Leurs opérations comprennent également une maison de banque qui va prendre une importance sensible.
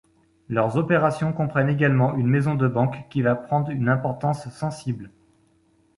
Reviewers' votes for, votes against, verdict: 2, 0, accepted